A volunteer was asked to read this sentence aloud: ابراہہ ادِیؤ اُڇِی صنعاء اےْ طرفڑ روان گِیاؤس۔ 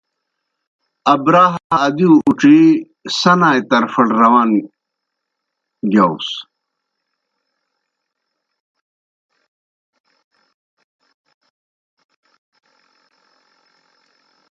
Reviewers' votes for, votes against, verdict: 0, 2, rejected